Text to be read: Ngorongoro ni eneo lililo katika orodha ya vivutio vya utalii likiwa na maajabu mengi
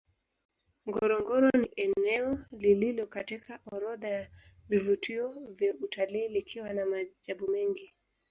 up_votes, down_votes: 2, 3